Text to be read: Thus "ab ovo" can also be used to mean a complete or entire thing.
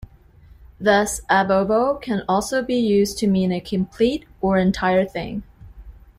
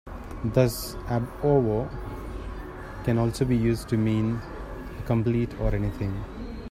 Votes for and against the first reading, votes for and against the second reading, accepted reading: 2, 0, 0, 2, first